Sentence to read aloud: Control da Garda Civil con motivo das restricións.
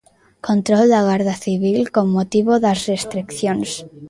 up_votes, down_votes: 0, 2